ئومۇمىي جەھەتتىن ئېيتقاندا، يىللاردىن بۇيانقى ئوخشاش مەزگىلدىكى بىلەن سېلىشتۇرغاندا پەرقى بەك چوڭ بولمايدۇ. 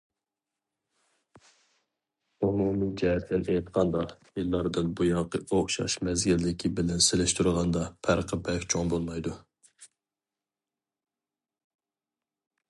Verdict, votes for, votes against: accepted, 2, 0